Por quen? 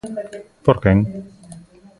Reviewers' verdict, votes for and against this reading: rejected, 1, 2